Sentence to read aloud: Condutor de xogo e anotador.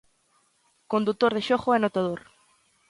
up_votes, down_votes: 2, 0